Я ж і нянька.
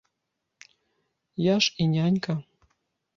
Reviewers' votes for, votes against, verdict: 1, 2, rejected